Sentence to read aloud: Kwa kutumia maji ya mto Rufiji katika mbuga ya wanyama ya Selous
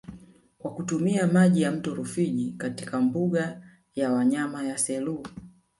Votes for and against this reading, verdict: 2, 1, accepted